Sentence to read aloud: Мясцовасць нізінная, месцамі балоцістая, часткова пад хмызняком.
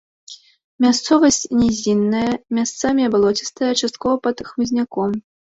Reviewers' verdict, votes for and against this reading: rejected, 0, 2